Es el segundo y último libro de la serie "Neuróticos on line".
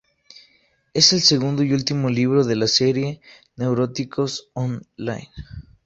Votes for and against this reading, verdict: 4, 2, accepted